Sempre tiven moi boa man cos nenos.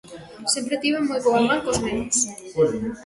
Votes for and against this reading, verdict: 1, 2, rejected